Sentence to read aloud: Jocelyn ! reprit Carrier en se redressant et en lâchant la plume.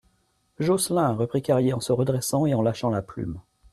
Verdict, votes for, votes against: accepted, 2, 0